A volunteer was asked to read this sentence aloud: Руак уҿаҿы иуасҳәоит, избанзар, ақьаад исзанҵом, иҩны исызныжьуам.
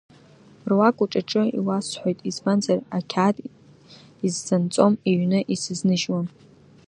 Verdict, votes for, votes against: accepted, 2, 0